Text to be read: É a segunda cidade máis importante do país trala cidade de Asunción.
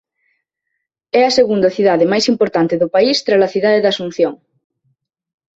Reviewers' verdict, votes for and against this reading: accepted, 2, 0